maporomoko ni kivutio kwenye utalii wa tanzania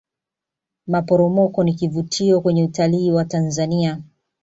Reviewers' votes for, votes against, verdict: 2, 0, accepted